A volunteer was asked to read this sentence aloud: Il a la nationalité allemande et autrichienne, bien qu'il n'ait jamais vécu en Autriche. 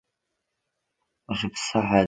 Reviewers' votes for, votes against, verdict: 0, 2, rejected